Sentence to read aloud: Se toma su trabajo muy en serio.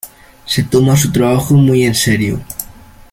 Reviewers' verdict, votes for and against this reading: accepted, 2, 0